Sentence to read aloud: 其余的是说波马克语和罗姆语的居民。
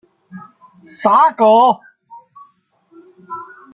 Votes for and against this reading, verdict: 0, 2, rejected